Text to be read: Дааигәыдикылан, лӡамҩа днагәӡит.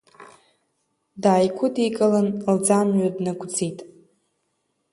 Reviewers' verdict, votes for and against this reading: accepted, 3, 1